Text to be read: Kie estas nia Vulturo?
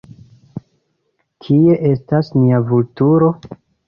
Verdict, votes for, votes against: accepted, 2, 0